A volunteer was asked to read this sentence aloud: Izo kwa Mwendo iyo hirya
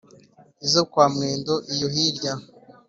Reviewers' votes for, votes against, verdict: 4, 0, accepted